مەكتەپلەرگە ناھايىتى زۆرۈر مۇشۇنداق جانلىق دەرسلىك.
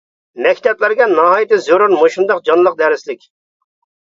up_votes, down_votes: 2, 0